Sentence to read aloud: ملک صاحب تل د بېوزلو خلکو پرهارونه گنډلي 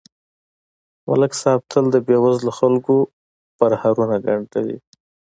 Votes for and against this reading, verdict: 2, 0, accepted